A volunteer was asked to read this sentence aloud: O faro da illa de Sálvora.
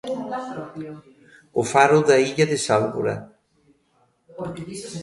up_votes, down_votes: 0, 2